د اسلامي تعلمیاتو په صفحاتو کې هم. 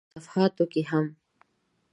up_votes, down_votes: 1, 2